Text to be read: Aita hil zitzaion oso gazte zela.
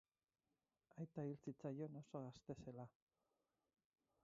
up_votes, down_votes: 2, 6